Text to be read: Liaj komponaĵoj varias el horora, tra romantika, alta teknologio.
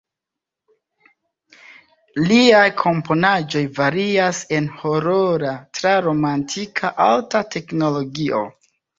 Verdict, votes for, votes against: accepted, 2, 0